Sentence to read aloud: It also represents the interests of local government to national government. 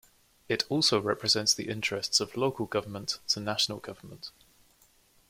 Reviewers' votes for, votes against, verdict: 2, 0, accepted